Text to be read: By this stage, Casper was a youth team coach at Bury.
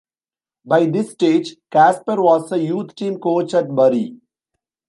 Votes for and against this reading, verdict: 2, 0, accepted